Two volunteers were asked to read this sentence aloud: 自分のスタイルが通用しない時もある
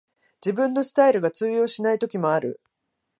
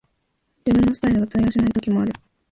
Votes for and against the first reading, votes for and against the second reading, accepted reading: 2, 0, 2, 4, first